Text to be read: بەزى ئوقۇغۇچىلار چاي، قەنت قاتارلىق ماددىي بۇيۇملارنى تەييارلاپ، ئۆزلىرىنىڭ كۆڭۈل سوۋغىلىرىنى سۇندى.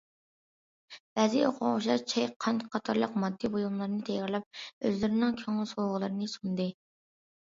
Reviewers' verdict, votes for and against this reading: accepted, 2, 0